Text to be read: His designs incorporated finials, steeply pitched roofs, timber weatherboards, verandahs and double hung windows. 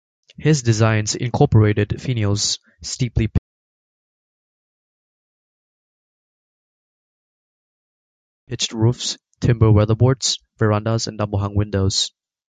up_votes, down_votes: 0, 2